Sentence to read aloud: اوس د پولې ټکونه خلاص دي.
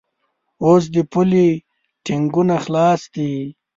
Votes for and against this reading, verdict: 4, 5, rejected